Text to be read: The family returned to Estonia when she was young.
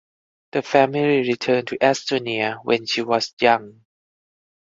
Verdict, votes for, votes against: accepted, 4, 0